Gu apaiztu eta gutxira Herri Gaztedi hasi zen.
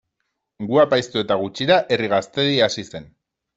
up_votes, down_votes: 2, 0